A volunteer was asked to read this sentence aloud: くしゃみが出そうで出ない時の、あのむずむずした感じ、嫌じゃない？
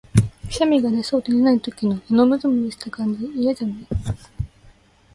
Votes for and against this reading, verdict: 2, 0, accepted